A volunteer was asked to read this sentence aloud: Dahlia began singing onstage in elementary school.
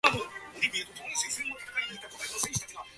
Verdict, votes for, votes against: rejected, 0, 2